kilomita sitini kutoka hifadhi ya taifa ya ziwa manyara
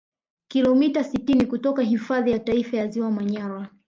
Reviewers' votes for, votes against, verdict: 2, 0, accepted